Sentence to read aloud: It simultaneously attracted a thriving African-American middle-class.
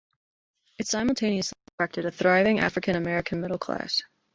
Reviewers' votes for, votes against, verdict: 2, 0, accepted